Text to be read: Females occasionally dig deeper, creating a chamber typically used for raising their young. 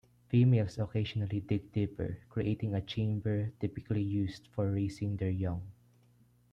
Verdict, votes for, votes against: accepted, 2, 0